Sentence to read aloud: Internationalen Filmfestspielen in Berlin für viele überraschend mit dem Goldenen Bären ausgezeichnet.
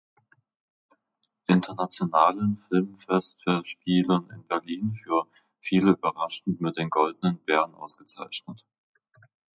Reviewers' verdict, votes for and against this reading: rejected, 0, 2